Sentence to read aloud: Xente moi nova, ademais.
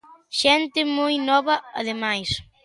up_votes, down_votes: 2, 0